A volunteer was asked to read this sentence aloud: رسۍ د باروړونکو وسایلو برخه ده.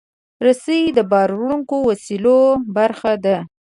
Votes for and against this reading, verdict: 0, 2, rejected